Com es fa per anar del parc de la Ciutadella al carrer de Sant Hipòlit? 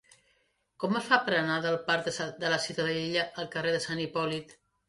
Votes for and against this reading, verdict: 1, 2, rejected